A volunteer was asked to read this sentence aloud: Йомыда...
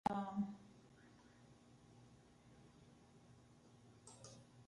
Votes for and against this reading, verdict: 0, 2, rejected